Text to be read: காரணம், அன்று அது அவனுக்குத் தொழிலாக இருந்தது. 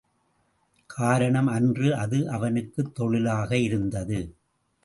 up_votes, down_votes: 2, 0